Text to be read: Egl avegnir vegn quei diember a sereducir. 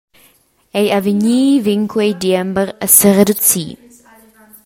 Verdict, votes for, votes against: accepted, 2, 0